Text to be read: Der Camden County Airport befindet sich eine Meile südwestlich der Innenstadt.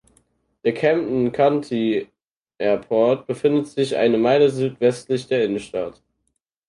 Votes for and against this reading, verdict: 4, 0, accepted